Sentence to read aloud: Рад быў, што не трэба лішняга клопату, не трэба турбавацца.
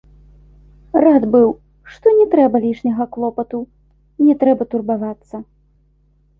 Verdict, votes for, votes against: accepted, 2, 0